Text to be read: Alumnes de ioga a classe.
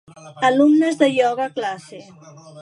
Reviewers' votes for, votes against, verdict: 2, 0, accepted